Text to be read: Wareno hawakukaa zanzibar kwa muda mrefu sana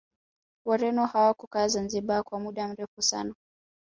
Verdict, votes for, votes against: rejected, 1, 2